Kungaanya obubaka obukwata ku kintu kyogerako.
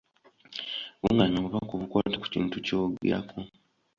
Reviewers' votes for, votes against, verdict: 1, 2, rejected